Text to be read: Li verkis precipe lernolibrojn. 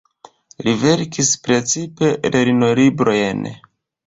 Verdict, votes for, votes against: accepted, 2, 0